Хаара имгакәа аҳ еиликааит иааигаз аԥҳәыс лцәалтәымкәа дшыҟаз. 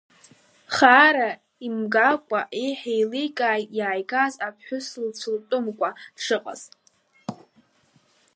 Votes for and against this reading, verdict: 1, 2, rejected